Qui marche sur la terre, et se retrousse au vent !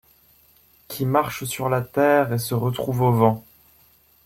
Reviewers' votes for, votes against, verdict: 0, 2, rejected